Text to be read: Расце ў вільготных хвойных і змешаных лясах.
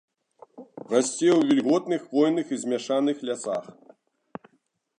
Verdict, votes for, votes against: rejected, 1, 3